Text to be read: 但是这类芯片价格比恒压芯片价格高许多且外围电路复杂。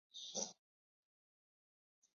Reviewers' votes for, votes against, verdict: 1, 4, rejected